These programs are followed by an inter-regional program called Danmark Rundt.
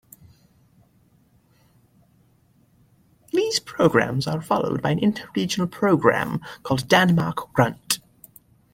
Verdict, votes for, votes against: accepted, 2, 0